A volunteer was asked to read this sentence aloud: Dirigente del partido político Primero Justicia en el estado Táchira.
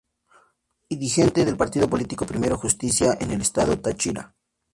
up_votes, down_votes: 2, 4